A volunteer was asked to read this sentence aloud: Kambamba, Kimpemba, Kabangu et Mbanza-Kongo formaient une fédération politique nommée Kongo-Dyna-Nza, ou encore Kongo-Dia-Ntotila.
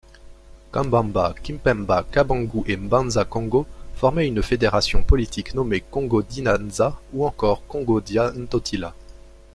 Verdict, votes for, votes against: rejected, 0, 2